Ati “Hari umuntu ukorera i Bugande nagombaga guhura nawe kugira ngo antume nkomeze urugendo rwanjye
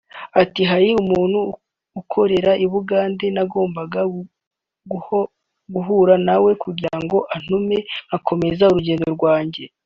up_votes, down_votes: 0, 2